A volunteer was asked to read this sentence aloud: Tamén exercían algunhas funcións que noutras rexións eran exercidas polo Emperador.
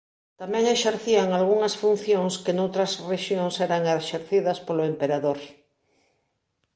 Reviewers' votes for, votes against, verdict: 2, 0, accepted